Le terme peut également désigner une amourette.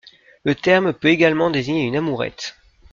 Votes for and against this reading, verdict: 2, 0, accepted